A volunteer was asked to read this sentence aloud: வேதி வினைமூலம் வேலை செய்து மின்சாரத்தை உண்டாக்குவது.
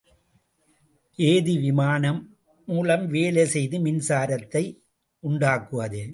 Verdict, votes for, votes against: rejected, 0, 2